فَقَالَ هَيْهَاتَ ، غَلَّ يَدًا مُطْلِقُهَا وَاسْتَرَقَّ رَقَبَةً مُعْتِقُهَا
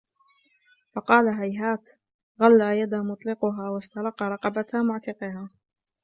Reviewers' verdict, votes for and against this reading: accepted, 2, 0